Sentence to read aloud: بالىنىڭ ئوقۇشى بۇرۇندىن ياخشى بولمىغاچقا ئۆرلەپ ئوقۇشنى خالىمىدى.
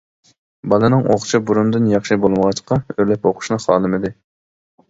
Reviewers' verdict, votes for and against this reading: rejected, 1, 2